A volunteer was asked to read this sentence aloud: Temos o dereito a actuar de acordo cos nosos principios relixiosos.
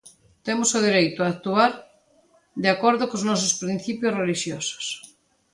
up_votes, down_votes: 2, 0